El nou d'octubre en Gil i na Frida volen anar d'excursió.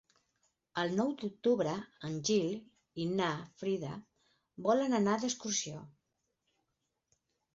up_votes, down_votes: 8, 2